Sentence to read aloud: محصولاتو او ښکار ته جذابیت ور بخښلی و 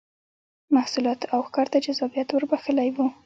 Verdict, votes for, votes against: accepted, 2, 0